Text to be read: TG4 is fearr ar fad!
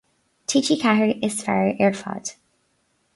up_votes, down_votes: 0, 2